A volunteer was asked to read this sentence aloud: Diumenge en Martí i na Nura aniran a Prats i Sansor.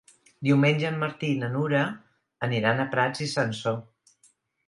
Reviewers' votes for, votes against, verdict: 2, 0, accepted